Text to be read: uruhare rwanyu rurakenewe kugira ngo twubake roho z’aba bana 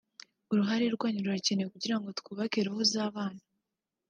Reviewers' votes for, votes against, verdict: 2, 3, rejected